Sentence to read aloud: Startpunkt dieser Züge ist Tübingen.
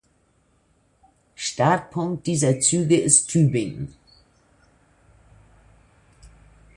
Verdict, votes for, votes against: rejected, 1, 2